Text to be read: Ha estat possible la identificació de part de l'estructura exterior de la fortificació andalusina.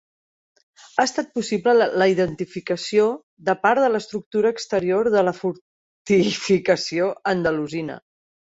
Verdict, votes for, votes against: accepted, 2, 1